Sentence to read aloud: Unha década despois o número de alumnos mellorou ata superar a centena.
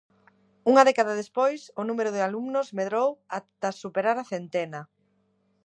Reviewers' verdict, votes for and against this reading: rejected, 0, 2